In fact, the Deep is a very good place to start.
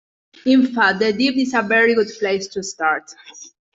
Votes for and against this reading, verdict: 2, 0, accepted